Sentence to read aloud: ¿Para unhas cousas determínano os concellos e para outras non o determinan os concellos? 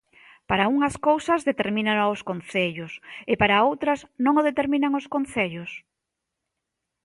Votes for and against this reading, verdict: 1, 2, rejected